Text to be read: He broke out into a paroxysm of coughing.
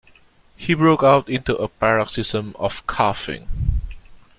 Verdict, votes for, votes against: accepted, 2, 0